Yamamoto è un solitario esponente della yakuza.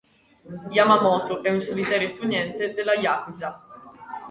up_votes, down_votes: 2, 1